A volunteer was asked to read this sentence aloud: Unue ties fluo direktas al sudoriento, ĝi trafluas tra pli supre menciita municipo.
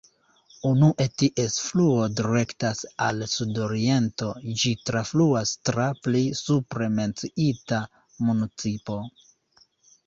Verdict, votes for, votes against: accepted, 2, 0